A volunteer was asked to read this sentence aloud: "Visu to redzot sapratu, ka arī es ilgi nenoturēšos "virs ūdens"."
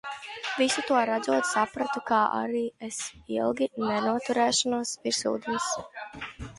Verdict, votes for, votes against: rejected, 0, 2